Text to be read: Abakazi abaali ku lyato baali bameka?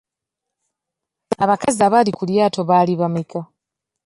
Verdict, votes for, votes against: rejected, 0, 2